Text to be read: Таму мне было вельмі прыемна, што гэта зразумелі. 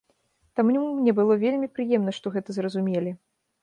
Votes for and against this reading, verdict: 1, 2, rejected